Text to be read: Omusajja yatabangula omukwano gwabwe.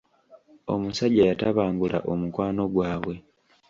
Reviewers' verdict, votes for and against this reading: accepted, 2, 0